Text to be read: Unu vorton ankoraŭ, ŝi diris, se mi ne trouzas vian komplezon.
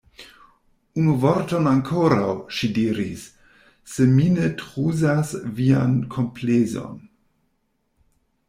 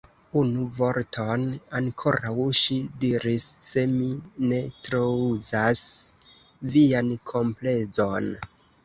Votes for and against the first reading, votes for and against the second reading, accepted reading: 0, 2, 2, 0, second